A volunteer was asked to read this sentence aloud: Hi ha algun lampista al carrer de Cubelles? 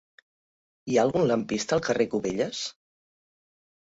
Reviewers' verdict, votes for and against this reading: rejected, 1, 3